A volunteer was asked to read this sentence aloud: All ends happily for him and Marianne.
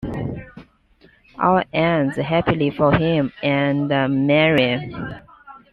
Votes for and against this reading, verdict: 2, 1, accepted